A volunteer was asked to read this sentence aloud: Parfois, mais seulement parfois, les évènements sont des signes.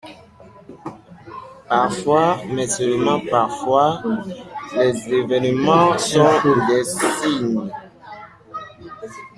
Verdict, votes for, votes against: accepted, 2, 0